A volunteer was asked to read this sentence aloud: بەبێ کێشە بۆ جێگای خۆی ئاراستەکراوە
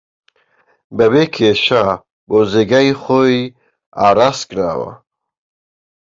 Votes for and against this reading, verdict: 1, 2, rejected